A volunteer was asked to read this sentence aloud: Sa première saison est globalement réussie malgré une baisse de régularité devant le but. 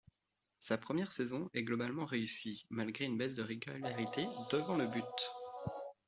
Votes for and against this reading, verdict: 2, 1, accepted